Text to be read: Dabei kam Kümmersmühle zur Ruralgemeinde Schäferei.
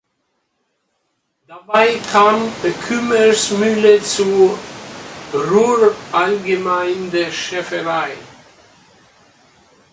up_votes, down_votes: 0, 2